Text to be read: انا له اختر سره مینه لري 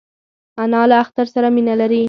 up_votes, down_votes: 2, 0